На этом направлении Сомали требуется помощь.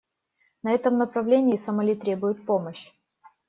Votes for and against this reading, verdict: 0, 2, rejected